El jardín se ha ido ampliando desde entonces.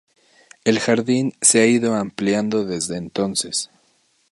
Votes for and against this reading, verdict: 0, 2, rejected